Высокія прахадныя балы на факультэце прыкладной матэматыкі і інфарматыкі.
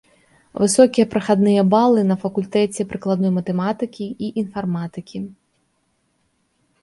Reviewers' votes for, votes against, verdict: 2, 0, accepted